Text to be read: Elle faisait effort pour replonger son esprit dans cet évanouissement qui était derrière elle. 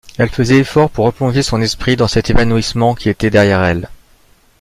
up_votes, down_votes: 2, 0